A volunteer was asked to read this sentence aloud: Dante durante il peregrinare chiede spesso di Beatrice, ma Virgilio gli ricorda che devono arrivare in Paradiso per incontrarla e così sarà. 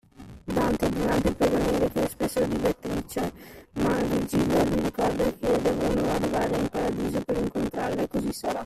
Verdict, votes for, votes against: rejected, 0, 2